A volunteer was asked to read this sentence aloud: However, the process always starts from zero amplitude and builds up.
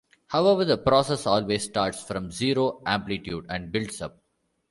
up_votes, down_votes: 2, 0